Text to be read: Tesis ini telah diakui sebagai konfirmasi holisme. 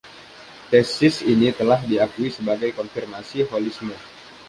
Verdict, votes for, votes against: accepted, 2, 0